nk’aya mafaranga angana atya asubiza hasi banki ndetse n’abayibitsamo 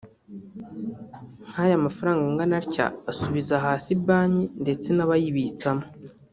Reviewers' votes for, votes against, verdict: 1, 2, rejected